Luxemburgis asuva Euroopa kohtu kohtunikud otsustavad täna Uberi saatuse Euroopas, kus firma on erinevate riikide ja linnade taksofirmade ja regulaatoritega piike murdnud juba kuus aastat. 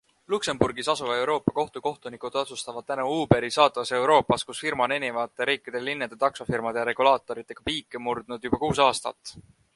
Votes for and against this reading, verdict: 1, 2, rejected